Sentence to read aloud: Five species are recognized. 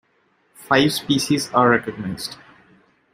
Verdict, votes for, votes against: accepted, 2, 0